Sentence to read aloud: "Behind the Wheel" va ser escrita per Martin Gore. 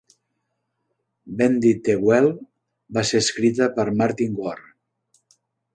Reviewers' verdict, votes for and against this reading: rejected, 0, 2